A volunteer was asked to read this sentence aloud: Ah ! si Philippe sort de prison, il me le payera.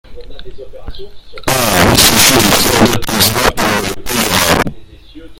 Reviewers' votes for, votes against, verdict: 0, 2, rejected